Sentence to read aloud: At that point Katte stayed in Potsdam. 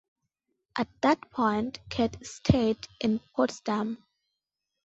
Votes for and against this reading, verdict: 2, 0, accepted